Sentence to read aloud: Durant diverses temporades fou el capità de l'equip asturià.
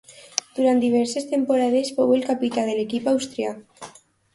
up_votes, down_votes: 0, 2